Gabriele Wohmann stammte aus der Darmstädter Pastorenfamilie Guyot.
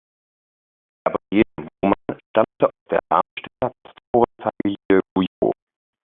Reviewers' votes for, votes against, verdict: 0, 2, rejected